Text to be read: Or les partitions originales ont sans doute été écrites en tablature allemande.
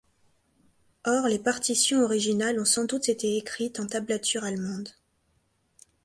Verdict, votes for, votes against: accepted, 3, 0